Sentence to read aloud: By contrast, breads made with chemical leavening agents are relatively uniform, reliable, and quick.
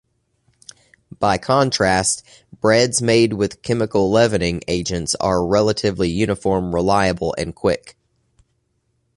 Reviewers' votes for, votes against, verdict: 2, 0, accepted